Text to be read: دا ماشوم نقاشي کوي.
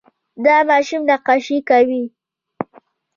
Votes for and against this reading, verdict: 1, 2, rejected